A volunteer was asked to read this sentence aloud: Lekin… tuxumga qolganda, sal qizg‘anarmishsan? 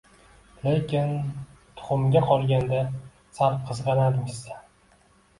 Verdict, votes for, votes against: accepted, 2, 0